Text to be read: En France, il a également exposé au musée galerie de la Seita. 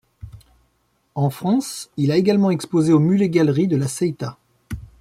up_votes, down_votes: 0, 2